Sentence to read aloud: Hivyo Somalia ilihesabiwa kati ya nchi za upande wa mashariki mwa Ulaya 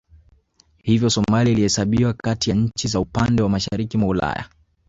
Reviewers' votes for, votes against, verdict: 2, 0, accepted